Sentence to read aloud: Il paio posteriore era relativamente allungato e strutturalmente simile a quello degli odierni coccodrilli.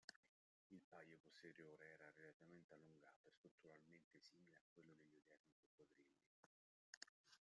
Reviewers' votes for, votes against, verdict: 0, 2, rejected